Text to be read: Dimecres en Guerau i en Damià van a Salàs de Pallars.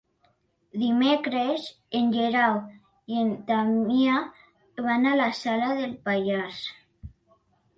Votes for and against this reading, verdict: 0, 2, rejected